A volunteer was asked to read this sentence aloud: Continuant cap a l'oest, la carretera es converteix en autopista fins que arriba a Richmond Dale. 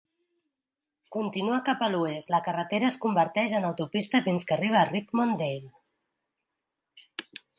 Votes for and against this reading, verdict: 0, 2, rejected